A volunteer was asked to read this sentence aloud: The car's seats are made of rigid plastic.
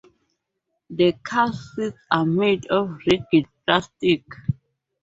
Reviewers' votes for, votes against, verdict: 0, 2, rejected